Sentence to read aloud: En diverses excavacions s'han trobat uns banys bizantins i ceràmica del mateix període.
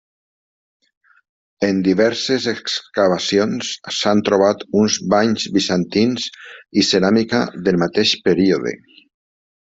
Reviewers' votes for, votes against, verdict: 1, 2, rejected